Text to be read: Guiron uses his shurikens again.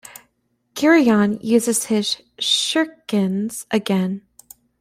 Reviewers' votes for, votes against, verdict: 1, 2, rejected